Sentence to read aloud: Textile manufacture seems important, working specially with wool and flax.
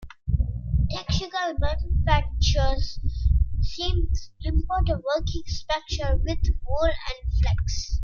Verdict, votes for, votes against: rejected, 0, 2